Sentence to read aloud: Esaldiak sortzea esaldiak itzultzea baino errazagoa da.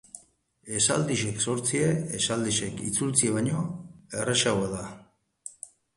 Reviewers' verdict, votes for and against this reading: rejected, 0, 2